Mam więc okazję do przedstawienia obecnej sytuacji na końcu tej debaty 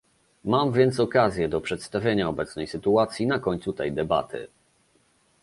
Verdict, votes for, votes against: accepted, 2, 0